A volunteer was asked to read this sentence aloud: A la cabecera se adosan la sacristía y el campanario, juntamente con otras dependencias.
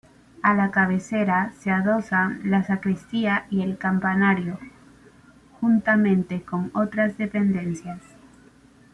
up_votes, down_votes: 1, 3